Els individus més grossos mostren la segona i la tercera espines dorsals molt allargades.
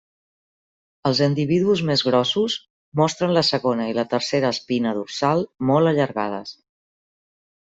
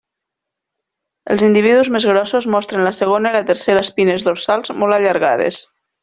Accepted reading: second